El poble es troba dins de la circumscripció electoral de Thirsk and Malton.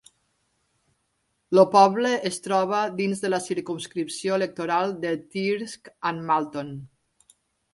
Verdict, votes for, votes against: rejected, 2, 3